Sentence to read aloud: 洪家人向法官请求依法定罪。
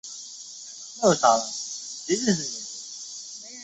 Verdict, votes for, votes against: rejected, 0, 2